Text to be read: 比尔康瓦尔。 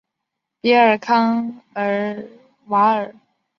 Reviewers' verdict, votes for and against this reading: rejected, 2, 3